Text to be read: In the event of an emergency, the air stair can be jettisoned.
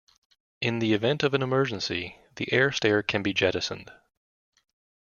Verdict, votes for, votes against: accepted, 2, 0